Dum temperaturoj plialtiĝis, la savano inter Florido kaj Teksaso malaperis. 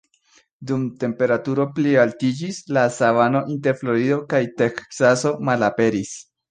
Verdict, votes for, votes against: accepted, 2, 0